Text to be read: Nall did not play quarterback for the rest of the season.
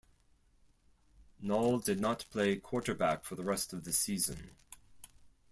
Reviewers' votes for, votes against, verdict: 4, 0, accepted